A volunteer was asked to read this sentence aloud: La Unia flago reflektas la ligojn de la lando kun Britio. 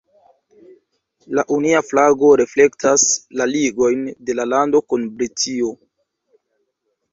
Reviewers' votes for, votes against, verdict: 0, 2, rejected